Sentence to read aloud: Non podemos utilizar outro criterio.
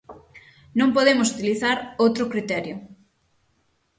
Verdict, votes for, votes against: accepted, 6, 0